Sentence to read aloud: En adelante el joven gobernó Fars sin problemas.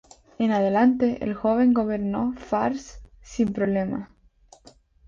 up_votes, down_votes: 2, 0